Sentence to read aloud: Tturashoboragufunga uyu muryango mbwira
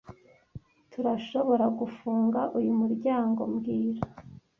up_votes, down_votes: 2, 1